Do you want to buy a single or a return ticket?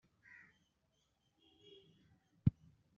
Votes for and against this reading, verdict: 0, 2, rejected